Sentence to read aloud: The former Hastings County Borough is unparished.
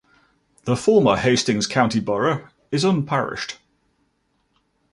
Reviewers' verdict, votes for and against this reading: accepted, 2, 0